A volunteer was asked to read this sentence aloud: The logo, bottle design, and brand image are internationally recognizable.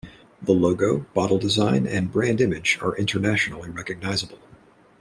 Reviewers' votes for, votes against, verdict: 2, 0, accepted